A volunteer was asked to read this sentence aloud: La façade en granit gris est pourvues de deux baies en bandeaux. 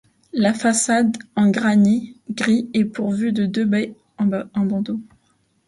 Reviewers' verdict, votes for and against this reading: rejected, 1, 2